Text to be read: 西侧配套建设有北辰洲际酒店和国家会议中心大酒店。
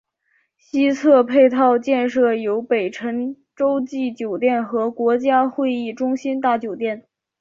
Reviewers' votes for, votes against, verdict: 2, 0, accepted